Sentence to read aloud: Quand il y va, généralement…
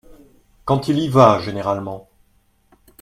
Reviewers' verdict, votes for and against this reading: accepted, 2, 0